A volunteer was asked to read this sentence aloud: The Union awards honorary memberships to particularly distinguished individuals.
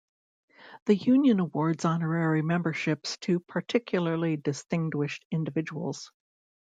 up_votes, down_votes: 2, 0